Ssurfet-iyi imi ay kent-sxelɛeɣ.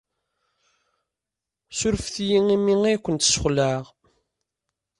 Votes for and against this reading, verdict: 2, 0, accepted